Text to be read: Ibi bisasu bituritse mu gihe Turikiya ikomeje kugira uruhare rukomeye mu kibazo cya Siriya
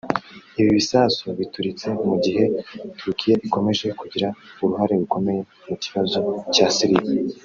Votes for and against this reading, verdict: 0, 2, rejected